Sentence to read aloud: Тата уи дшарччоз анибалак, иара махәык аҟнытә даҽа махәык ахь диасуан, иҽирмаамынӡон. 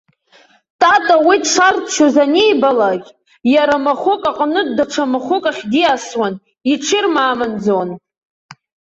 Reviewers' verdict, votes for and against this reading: accepted, 2, 0